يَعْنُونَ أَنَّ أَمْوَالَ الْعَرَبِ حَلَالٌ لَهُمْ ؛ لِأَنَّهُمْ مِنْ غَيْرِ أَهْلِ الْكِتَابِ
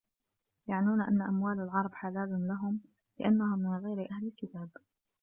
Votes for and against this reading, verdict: 1, 2, rejected